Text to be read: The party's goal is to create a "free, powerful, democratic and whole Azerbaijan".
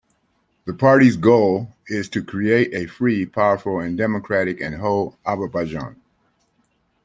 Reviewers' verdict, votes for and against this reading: rejected, 0, 2